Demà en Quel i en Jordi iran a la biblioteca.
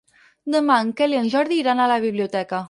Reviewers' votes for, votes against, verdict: 8, 0, accepted